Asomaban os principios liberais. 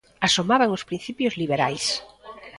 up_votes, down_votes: 2, 1